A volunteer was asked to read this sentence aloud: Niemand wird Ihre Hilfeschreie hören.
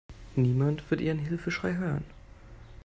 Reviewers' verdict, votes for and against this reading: rejected, 0, 2